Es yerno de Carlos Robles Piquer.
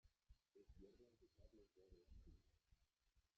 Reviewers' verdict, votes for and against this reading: rejected, 0, 2